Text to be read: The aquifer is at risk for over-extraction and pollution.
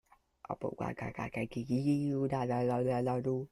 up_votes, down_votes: 0, 2